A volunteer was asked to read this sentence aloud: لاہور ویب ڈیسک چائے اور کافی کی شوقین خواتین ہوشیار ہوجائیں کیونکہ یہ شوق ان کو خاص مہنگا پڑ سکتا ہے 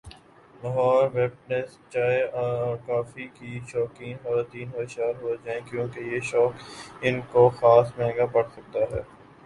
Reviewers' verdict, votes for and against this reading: rejected, 1, 3